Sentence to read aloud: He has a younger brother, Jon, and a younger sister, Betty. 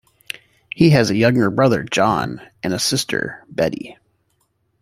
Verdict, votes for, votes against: rejected, 0, 2